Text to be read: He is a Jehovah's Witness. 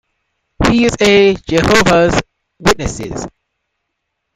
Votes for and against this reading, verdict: 0, 2, rejected